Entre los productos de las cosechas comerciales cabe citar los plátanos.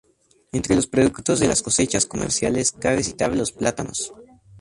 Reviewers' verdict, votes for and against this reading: rejected, 0, 2